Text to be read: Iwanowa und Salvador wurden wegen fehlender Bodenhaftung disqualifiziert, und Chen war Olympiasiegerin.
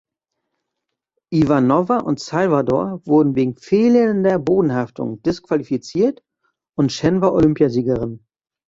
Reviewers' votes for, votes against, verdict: 2, 1, accepted